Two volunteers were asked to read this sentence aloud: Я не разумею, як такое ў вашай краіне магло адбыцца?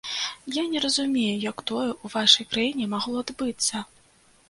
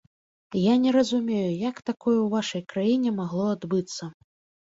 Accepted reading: second